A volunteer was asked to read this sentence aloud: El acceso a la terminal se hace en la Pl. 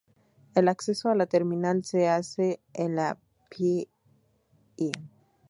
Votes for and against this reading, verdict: 2, 0, accepted